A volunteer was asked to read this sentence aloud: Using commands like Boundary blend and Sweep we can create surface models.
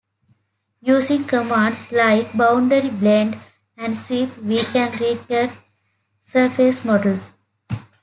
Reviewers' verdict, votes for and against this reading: accepted, 2, 1